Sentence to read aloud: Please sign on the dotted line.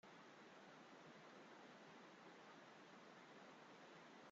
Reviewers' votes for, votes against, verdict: 0, 2, rejected